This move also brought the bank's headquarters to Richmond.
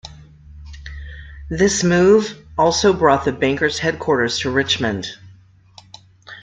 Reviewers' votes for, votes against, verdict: 0, 2, rejected